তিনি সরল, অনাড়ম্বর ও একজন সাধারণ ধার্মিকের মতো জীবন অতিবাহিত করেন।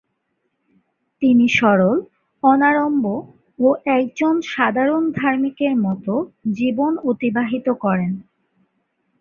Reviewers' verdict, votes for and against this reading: accepted, 2, 0